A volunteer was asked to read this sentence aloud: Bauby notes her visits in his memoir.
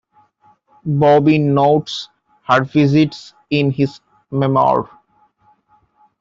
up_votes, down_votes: 1, 2